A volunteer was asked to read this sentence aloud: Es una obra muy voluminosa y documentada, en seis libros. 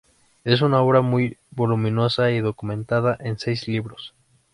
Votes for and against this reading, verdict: 2, 0, accepted